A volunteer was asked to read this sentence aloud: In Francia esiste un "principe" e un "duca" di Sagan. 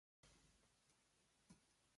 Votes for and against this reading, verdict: 0, 2, rejected